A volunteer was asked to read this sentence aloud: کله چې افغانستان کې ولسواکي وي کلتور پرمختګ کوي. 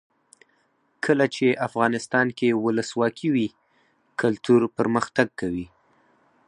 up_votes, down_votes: 0, 4